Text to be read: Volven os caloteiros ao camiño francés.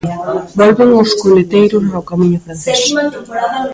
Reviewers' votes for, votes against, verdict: 0, 2, rejected